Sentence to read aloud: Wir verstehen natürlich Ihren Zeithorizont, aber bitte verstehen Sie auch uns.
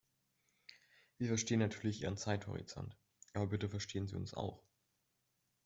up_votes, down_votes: 0, 2